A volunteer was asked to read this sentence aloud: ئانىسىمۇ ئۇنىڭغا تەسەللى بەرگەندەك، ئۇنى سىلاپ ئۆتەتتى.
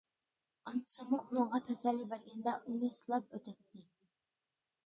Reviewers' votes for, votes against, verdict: 0, 2, rejected